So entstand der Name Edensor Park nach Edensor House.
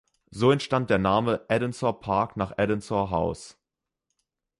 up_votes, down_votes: 2, 0